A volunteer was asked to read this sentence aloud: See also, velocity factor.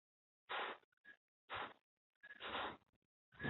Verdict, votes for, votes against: rejected, 0, 2